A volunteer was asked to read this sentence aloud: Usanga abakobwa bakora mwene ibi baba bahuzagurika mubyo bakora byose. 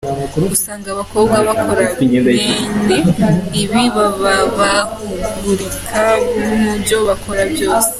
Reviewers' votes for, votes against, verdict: 0, 2, rejected